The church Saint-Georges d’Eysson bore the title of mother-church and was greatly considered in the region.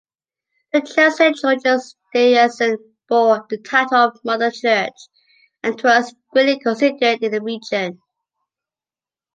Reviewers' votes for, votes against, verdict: 0, 2, rejected